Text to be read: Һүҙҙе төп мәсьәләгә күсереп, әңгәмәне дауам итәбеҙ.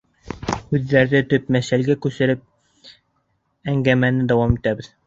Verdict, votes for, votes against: accepted, 3, 1